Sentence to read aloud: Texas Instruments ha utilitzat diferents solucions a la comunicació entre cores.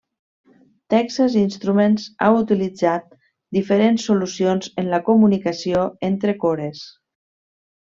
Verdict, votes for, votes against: rejected, 1, 2